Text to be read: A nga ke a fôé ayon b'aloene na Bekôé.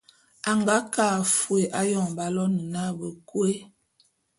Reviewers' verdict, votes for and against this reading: rejected, 0, 2